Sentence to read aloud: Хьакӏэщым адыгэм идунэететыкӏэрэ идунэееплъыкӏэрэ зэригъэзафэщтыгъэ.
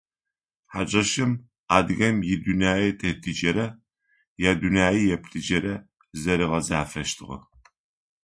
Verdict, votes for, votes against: accepted, 2, 0